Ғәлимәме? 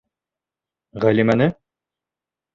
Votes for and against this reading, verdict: 1, 2, rejected